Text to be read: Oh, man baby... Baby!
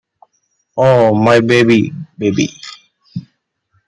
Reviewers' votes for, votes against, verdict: 0, 2, rejected